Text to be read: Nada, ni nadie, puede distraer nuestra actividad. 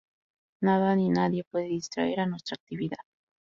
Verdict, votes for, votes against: rejected, 0, 2